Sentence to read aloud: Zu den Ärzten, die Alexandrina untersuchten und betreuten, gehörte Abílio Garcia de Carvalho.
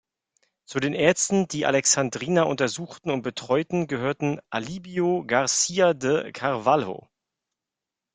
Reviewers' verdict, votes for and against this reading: rejected, 1, 2